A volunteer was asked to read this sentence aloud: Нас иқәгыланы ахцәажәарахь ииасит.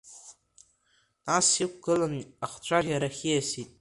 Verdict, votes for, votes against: accepted, 2, 0